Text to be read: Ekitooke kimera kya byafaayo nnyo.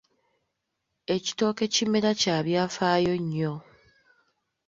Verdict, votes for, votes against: accepted, 3, 0